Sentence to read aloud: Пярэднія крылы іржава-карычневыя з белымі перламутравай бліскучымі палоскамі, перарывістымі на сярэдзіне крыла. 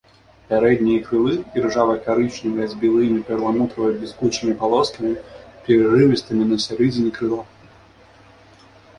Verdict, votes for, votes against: rejected, 0, 2